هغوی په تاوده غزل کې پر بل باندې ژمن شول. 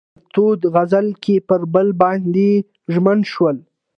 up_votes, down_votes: 1, 2